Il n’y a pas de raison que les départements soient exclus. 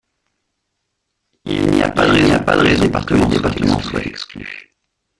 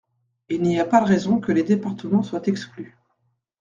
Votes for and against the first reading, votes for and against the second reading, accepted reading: 0, 2, 2, 0, second